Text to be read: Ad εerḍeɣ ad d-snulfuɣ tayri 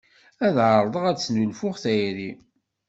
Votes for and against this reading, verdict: 2, 0, accepted